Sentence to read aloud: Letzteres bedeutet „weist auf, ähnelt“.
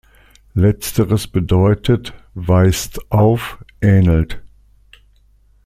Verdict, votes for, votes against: accepted, 2, 0